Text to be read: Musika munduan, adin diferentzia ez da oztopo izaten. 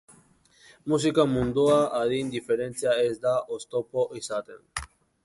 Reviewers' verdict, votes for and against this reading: rejected, 0, 2